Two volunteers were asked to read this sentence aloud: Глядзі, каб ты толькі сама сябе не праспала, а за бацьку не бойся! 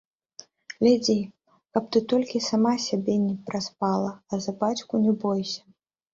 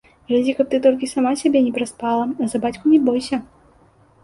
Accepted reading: second